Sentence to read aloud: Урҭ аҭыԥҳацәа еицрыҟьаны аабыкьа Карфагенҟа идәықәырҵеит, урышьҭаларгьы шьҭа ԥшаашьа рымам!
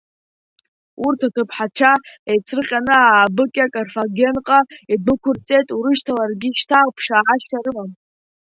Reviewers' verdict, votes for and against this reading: rejected, 1, 2